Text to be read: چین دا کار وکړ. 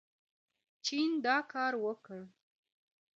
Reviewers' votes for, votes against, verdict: 2, 0, accepted